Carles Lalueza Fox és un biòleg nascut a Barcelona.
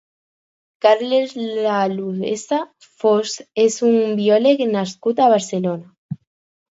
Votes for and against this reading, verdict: 0, 4, rejected